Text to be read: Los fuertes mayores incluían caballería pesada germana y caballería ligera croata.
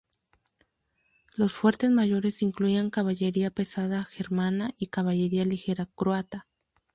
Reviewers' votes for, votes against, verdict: 0, 2, rejected